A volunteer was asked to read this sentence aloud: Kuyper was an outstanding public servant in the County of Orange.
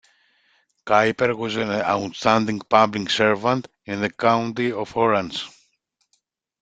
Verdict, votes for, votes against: accepted, 2, 0